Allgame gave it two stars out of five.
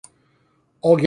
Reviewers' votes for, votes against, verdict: 0, 2, rejected